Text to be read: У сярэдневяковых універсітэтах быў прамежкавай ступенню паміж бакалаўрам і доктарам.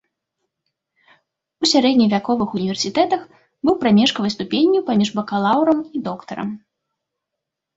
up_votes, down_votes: 2, 0